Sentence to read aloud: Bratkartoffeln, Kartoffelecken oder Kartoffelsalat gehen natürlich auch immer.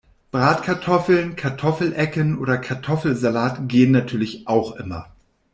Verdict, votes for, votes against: accepted, 2, 0